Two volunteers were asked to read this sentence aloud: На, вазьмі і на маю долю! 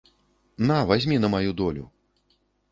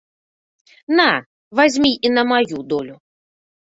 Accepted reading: second